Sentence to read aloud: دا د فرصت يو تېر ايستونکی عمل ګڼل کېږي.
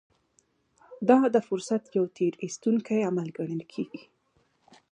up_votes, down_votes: 2, 0